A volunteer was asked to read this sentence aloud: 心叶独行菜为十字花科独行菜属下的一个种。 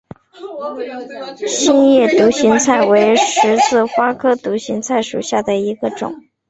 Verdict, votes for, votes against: accepted, 2, 0